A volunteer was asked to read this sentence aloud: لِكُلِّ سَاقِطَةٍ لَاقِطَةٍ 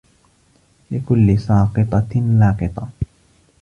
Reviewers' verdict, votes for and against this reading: rejected, 0, 2